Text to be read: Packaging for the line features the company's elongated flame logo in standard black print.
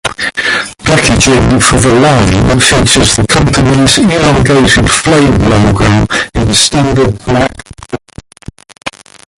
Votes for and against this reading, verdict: 0, 2, rejected